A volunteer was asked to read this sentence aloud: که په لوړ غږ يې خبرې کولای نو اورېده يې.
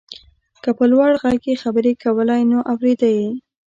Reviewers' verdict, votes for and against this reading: accepted, 2, 0